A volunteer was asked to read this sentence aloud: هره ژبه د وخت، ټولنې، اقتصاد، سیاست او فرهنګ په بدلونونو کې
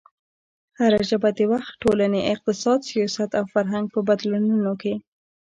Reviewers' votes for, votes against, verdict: 2, 0, accepted